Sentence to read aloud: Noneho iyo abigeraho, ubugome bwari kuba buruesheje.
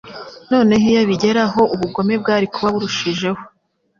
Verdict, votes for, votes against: rejected, 0, 2